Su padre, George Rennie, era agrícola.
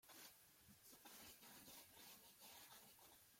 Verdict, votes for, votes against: rejected, 0, 2